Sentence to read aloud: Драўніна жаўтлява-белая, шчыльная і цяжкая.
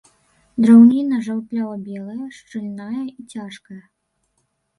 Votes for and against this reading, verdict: 0, 2, rejected